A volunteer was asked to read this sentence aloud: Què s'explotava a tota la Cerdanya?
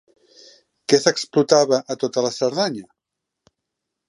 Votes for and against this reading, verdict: 2, 0, accepted